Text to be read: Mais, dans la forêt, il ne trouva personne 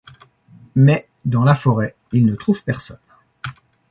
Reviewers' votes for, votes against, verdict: 1, 2, rejected